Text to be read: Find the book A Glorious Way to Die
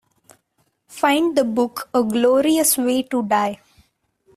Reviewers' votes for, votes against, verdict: 2, 0, accepted